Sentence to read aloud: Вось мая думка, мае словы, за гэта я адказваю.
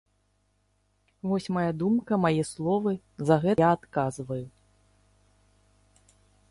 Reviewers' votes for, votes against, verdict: 0, 2, rejected